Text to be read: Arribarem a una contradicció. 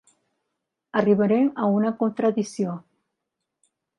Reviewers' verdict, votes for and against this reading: accepted, 2, 1